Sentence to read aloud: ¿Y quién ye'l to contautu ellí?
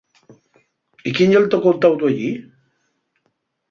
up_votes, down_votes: 0, 2